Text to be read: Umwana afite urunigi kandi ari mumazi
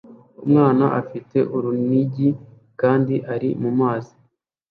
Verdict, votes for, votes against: accepted, 2, 0